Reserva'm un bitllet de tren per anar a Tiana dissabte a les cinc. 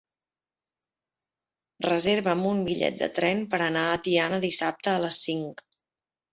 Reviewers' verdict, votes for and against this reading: accepted, 4, 0